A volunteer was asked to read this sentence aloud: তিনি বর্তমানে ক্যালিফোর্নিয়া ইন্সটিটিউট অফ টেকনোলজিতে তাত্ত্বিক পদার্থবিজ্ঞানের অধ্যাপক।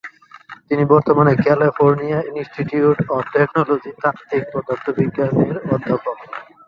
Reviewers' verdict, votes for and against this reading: accepted, 5, 4